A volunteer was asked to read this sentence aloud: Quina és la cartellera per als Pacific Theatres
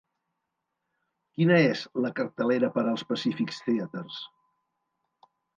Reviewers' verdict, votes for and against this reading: rejected, 0, 3